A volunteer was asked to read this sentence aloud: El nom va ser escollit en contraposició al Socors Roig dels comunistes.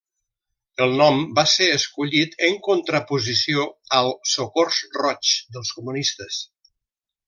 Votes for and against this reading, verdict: 1, 2, rejected